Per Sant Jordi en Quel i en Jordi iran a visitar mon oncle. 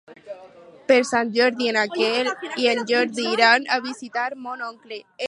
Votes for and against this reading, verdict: 0, 2, rejected